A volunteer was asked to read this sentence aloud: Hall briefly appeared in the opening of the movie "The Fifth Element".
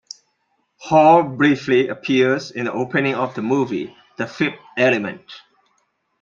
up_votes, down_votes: 1, 2